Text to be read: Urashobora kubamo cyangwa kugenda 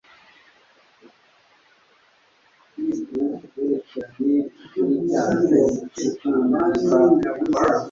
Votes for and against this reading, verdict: 0, 2, rejected